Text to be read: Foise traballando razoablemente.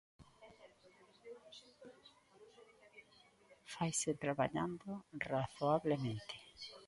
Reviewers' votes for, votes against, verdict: 0, 2, rejected